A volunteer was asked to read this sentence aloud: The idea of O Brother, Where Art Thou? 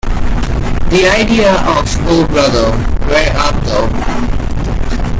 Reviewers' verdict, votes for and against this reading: rejected, 0, 2